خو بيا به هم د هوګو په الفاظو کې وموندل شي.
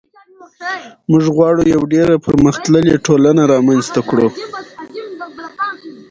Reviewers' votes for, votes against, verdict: 0, 2, rejected